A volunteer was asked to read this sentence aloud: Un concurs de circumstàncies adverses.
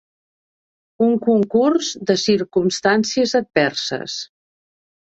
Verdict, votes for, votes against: accepted, 2, 0